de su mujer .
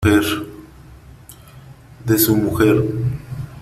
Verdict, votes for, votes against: rejected, 0, 3